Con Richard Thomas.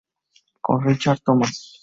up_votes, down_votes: 2, 0